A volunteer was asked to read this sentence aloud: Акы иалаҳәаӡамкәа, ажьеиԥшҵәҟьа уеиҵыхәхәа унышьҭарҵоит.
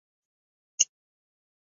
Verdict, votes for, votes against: rejected, 0, 2